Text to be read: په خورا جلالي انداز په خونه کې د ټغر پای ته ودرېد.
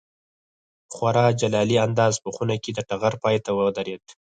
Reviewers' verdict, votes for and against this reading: rejected, 0, 4